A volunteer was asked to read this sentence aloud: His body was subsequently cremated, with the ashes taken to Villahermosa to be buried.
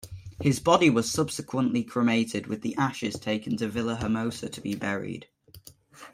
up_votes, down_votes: 2, 0